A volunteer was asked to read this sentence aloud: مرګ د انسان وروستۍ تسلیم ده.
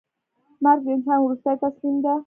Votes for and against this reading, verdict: 1, 2, rejected